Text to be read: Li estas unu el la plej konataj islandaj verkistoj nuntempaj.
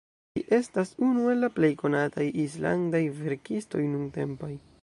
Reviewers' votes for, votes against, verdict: 1, 2, rejected